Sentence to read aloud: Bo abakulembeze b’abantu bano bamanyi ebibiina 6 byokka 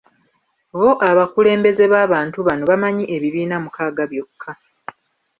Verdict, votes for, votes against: rejected, 0, 2